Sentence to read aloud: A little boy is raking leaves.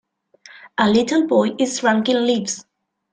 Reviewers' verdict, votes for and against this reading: rejected, 1, 2